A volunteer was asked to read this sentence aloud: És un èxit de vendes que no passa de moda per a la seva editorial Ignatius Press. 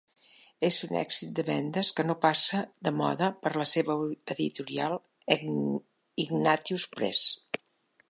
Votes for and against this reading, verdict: 1, 3, rejected